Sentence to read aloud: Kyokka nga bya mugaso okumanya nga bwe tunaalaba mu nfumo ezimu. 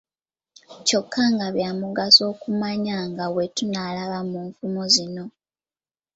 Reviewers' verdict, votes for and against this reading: rejected, 1, 2